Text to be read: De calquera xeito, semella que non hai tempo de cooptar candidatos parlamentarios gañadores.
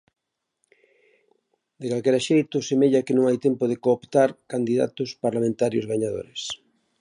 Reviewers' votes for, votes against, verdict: 2, 0, accepted